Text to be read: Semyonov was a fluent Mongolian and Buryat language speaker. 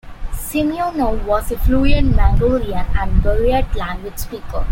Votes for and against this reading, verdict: 2, 1, accepted